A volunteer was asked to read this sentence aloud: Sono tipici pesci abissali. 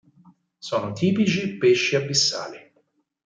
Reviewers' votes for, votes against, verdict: 6, 2, accepted